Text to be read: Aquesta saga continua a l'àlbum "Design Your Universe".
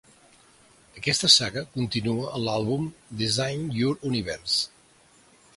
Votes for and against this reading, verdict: 3, 0, accepted